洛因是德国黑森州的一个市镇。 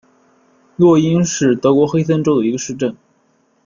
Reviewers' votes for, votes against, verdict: 2, 0, accepted